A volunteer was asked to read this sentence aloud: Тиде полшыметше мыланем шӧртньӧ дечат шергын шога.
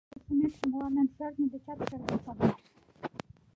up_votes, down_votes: 1, 2